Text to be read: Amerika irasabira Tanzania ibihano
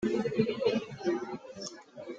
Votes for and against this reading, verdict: 0, 2, rejected